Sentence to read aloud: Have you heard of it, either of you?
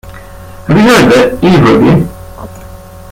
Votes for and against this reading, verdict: 1, 2, rejected